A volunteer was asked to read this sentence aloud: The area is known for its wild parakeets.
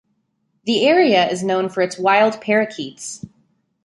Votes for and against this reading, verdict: 2, 0, accepted